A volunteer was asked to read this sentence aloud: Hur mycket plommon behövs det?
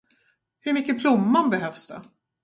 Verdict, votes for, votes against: accepted, 2, 0